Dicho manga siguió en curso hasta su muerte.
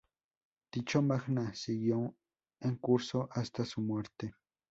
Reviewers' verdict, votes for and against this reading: rejected, 0, 2